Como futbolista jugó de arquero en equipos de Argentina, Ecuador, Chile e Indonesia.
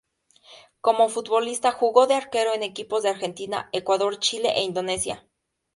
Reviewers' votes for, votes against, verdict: 2, 0, accepted